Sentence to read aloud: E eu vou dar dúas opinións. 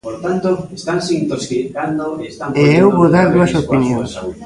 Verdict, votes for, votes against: rejected, 0, 2